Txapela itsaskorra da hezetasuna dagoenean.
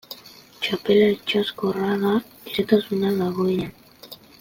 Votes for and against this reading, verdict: 1, 2, rejected